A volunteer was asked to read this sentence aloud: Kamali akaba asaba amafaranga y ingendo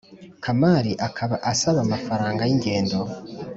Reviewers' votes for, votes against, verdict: 2, 0, accepted